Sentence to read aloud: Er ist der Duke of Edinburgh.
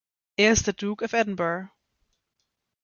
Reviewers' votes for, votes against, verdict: 0, 2, rejected